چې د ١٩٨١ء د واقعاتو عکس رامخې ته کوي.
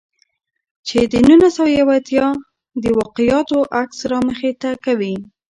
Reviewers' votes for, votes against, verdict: 0, 2, rejected